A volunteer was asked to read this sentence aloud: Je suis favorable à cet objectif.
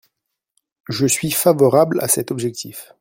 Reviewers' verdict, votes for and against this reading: accepted, 2, 0